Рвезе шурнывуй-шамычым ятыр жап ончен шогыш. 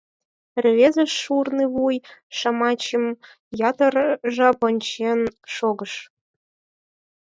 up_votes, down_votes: 0, 4